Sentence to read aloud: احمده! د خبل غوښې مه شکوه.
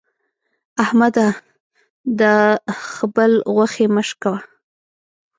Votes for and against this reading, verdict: 1, 2, rejected